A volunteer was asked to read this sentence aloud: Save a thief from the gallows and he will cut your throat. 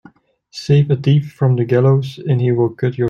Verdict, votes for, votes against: rejected, 0, 2